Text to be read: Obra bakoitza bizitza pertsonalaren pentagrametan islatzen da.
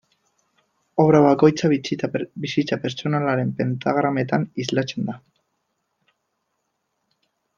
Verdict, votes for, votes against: rejected, 0, 2